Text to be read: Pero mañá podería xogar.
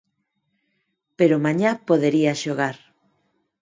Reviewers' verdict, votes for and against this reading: accepted, 4, 0